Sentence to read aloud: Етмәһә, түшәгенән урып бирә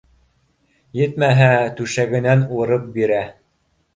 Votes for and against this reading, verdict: 2, 0, accepted